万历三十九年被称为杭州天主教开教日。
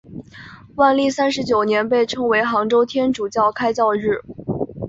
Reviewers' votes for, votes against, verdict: 2, 0, accepted